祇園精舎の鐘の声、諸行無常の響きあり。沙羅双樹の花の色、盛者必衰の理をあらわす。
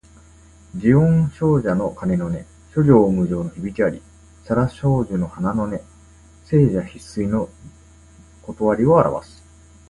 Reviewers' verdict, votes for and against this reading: rejected, 1, 2